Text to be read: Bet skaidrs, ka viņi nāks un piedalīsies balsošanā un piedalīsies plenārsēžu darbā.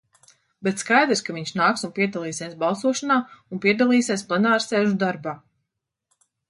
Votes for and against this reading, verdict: 0, 2, rejected